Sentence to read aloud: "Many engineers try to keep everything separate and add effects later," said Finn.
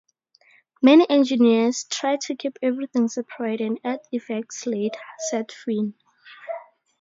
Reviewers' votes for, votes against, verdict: 2, 0, accepted